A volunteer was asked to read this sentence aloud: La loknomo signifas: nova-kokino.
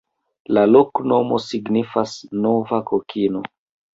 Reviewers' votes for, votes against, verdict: 0, 2, rejected